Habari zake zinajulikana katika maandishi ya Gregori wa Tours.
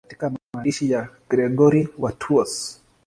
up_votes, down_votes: 0, 2